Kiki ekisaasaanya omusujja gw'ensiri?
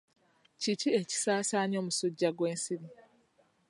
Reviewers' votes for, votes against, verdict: 3, 0, accepted